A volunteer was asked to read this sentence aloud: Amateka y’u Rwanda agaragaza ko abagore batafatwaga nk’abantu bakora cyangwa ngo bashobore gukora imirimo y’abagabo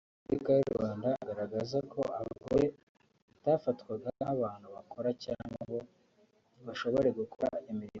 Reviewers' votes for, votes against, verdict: 1, 2, rejected